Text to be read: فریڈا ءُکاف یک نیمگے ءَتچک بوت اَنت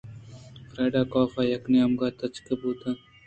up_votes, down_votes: 0, 2